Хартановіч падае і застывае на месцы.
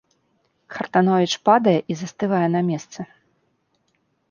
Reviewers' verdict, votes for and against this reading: accepted, 3, 0